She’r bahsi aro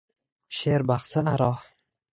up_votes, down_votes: 1, 2